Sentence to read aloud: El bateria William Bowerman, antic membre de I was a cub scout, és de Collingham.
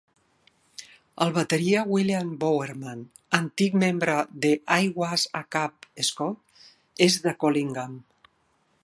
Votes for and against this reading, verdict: 1, 2, rejected